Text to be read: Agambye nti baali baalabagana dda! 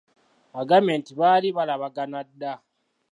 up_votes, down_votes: 0, 2